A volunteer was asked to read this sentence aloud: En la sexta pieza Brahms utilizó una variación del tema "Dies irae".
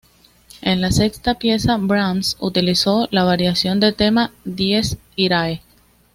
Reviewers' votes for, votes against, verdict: 2, 1, accepted